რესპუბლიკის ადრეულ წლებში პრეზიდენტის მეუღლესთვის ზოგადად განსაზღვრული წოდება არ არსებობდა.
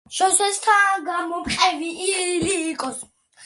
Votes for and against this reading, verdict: 0, 2, rejected